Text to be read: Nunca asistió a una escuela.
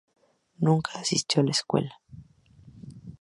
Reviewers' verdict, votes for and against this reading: rejected, 2, 2